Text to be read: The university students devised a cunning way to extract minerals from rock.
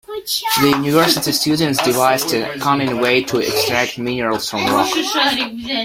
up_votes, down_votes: 1, 2